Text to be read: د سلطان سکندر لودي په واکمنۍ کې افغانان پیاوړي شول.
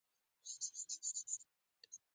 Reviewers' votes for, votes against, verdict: 1, 2, rejected